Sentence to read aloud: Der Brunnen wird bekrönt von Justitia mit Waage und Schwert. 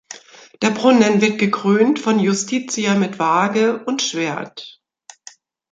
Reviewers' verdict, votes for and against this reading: rejected, 1, 2